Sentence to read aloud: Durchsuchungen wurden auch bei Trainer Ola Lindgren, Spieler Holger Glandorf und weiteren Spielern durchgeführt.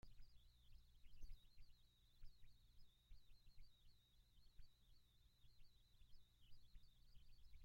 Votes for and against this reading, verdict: 0, 2, rejected